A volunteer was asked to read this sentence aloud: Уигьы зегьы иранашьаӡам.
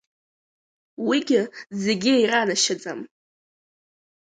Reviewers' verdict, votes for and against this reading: accepted, 3, 0